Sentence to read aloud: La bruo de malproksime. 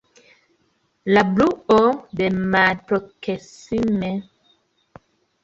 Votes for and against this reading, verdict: 0, 2, rejected